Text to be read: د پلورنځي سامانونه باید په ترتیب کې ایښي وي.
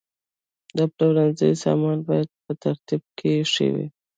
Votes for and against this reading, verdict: 1, 2, rejected